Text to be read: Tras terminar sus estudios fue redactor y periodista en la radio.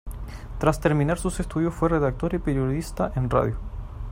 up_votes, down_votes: 1, 2